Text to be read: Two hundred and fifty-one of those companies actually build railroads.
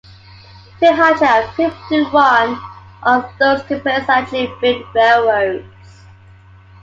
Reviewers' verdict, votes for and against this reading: rejected, 1, 2